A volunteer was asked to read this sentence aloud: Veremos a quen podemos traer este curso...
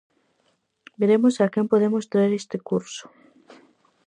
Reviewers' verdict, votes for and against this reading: accepted, 4, 0